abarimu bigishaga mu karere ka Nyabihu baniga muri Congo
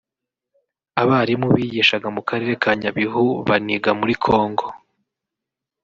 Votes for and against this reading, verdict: 2, 0, accepted